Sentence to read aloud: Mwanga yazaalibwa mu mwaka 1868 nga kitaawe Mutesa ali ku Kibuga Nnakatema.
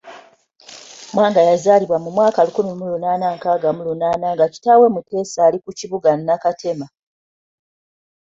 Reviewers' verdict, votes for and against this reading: rejected, 0, 2